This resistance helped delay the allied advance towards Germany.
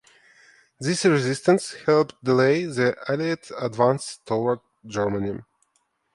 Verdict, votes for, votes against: rejected, 1, 2